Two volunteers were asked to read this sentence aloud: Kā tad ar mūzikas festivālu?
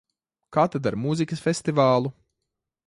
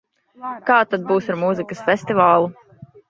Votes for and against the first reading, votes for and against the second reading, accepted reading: 2, 0, 0, 2, first